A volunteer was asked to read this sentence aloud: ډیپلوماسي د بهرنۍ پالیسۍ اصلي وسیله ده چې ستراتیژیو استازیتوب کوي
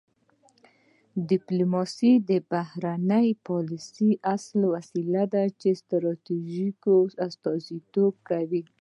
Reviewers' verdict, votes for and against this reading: accepted, 2, 0